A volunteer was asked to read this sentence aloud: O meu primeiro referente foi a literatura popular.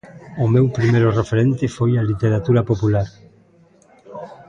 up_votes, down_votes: 2, 0